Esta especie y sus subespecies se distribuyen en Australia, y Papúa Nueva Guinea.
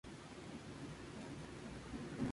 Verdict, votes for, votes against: rejected, 0, 2